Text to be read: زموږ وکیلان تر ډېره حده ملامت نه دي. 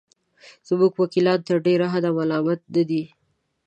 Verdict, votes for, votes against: accepted, 2, 0